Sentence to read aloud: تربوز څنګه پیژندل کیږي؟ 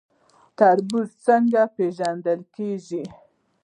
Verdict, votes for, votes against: rejected, 0, 2